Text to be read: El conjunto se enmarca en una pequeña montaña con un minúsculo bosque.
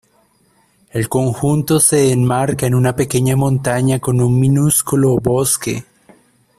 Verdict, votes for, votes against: accepted, 2, 0